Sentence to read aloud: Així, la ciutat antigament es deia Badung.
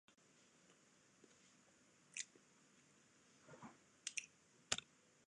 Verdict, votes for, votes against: rejected, 0, 2